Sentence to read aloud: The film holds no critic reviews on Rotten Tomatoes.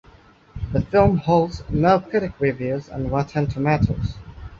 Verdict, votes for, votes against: accepted, 2, 1